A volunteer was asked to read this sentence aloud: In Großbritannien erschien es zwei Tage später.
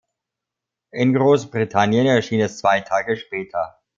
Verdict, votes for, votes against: accepted, 2, 0